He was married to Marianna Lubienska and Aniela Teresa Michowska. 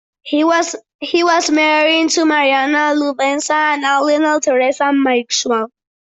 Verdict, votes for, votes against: rejected, 0, 2